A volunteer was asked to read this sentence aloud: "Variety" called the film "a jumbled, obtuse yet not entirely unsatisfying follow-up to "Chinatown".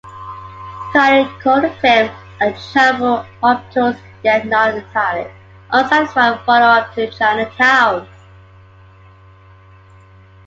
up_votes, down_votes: 0, 2